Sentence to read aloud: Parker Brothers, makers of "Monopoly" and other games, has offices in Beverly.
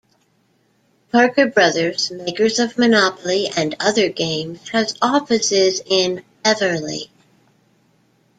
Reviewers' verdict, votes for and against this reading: accepted, 2, 0